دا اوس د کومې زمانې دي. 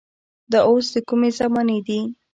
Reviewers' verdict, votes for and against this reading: accepted, 2, 0